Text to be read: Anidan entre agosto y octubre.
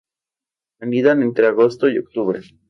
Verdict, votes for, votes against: accepted, 2, 0